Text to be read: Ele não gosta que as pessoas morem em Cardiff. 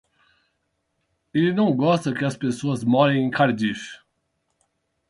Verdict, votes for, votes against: accepted, 8, 0